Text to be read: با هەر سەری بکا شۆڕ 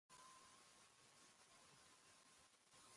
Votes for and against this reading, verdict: 0, 3, rejected